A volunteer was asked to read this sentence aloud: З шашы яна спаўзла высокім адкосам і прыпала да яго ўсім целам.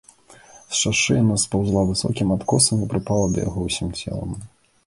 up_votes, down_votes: 2, 0